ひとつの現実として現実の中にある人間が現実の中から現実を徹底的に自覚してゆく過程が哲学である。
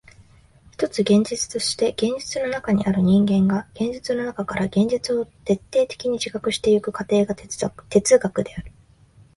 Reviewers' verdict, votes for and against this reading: rejected, 0, 6